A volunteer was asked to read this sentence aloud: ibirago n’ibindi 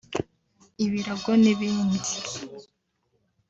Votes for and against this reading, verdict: 4, 0, accepted